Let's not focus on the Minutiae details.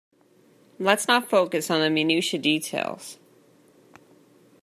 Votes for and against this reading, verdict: 2, 0, accepted